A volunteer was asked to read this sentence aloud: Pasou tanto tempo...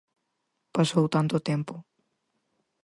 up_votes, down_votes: 4, 0